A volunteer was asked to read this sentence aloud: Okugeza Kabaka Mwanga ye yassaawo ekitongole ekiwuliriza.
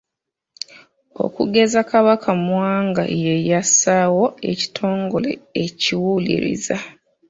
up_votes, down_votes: 0, 2